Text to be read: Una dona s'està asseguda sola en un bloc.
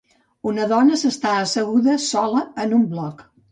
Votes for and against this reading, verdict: 2, 0, accepted